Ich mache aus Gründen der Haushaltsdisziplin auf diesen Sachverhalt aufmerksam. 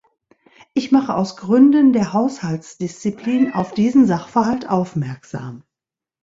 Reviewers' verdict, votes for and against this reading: accepted, 2, 0